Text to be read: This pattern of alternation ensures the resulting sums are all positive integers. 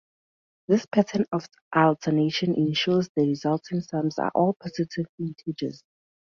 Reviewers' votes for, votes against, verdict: 4, 0, accepted